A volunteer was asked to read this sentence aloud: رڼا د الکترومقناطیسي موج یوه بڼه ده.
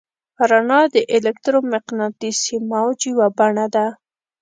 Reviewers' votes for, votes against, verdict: 2, 0, accepted